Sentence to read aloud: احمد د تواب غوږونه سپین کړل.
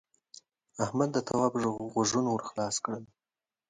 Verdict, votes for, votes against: accepted, 2, 1